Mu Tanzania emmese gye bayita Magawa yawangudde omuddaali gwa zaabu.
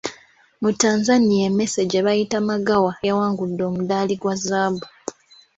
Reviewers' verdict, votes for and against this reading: accepted, 2, 0